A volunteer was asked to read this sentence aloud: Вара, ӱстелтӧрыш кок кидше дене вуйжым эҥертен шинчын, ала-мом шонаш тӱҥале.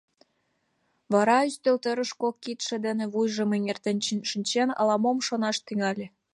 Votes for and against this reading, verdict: 1, 2, rejected